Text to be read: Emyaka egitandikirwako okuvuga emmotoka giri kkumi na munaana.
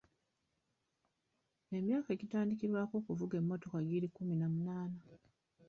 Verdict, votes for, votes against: rejected, 1, 3